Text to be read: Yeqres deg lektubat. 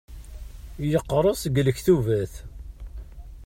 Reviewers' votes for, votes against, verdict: 2, 0, accepted